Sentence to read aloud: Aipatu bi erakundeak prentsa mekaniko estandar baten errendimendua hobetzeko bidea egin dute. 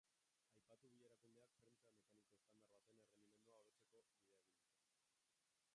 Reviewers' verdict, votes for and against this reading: rejected, 0, 2